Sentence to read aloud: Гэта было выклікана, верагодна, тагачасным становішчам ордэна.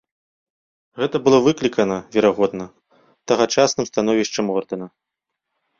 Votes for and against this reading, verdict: 2, 0, accepted